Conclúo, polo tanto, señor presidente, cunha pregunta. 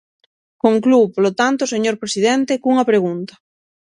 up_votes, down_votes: 6, 0